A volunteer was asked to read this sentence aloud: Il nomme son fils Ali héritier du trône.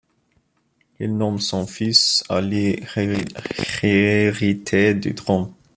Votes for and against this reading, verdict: 0, 2, rejected